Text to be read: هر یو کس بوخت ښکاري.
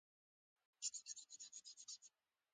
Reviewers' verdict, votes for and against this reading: rejected, 0, 2